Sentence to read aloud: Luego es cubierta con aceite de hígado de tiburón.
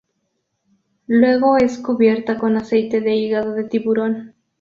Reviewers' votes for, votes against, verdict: 0, 2, rejected